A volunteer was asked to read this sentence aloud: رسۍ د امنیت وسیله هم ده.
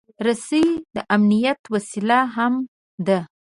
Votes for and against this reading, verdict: 2, 0, accepted